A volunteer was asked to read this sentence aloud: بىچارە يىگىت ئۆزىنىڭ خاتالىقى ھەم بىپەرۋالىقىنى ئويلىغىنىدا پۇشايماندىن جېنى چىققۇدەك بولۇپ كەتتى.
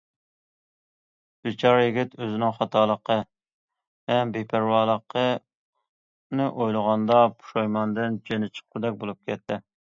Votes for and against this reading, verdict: 0, 2, rejected